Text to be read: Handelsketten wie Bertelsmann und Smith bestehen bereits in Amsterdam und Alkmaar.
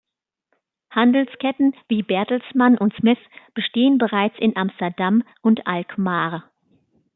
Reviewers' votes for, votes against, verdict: 2, 0, accepted